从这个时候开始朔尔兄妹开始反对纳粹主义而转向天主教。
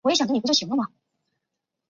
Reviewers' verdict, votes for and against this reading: rejected, 0, 2